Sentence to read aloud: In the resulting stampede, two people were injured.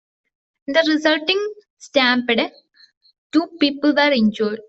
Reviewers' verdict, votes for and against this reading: rejected, 0, 2